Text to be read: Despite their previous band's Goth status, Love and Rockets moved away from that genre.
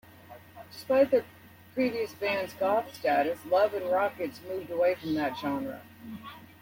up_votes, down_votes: 1, 2